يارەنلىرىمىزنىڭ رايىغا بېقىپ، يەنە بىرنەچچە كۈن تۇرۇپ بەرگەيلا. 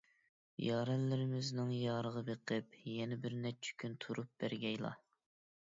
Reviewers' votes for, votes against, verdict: 2, 1, accepted